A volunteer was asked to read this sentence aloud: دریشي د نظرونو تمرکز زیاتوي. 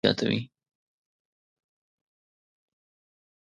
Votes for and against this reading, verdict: 0, 2, rejected